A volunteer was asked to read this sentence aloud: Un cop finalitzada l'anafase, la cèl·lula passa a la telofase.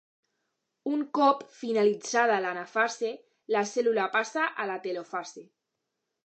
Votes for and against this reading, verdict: 2, 0, accepted